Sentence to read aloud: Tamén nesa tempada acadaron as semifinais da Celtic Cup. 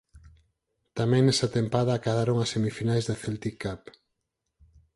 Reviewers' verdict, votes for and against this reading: accepted, 4, 0